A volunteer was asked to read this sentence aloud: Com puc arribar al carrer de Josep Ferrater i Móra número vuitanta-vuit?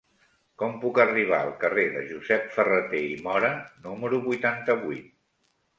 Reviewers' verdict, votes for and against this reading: accepted, 2, 1